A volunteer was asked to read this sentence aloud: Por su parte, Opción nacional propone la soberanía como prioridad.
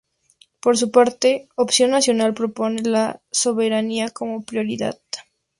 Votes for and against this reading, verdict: 0, 2, rejected